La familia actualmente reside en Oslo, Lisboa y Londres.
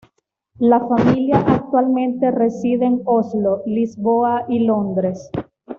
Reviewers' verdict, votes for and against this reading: accepted, 2, 0